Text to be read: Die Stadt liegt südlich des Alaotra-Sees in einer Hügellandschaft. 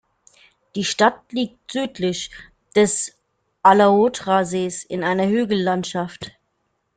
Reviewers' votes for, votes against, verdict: 2, 0, accepted